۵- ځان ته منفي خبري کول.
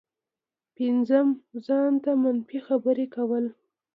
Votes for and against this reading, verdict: 0, 2, rejected